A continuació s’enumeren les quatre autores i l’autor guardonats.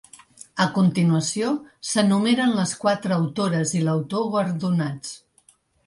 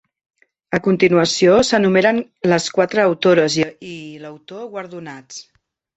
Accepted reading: first